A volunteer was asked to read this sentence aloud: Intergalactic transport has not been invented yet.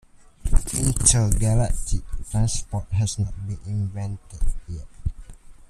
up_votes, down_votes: 1, 2